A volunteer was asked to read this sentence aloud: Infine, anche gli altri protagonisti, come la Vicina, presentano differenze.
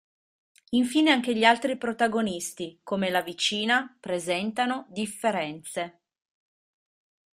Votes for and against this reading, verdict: 1, 2, rejected